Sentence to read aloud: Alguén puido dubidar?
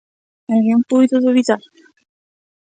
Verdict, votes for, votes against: rejected, 1, 2